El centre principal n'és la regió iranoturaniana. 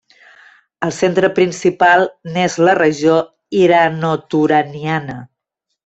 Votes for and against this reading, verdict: 0, 2, rejected